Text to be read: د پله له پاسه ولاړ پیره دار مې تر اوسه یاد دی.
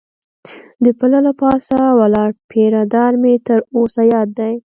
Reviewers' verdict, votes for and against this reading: accepted, 2, 0